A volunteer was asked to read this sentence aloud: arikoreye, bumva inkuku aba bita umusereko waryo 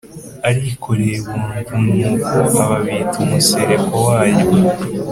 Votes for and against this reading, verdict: 4, 0, accepted